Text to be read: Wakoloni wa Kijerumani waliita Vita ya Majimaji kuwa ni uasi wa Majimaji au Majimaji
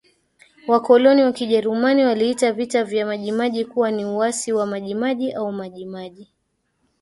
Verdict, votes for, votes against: accepted, 2, 1